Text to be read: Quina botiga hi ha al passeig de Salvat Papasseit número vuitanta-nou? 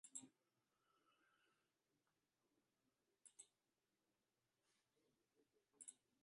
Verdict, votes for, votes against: rejected, 0, 2